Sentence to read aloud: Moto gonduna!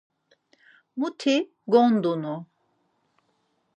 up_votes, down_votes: 0, 4